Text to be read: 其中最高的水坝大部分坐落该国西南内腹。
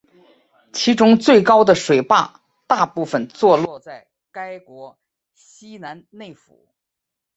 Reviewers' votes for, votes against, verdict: 5, 2, accepted